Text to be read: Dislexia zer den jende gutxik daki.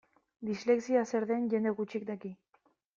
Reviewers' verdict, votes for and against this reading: accepted, 2, 0